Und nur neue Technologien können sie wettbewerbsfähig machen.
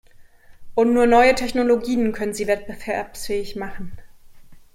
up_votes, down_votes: 0, 2